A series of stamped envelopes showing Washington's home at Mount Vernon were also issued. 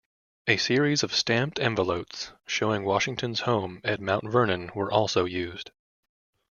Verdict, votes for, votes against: rejected, 1, 2